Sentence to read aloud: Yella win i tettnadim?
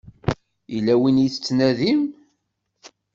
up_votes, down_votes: 2, 0